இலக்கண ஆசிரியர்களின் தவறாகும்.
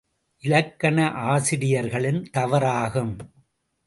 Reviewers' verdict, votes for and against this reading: accepted, 2, 0